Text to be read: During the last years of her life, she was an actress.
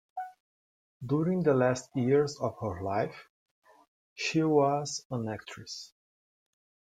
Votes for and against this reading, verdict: 2, 0, accepted